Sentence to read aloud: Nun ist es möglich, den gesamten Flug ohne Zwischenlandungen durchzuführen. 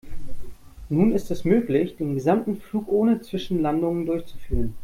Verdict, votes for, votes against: accepted, 2, 0